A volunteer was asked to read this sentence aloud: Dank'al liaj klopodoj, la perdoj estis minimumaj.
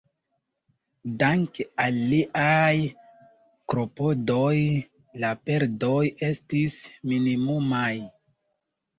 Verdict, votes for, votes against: rejected, 1, 2